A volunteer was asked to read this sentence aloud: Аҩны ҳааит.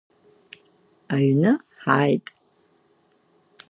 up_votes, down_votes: 2, 0